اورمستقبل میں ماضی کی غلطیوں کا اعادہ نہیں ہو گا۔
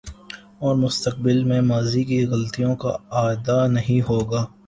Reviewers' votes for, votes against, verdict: 0, 2, rejected